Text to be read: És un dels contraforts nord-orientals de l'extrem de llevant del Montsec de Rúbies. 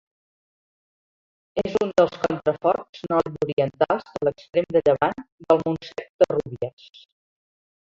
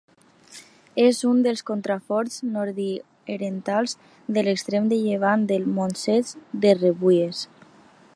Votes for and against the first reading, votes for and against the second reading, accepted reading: 2, 1, 0, 2, first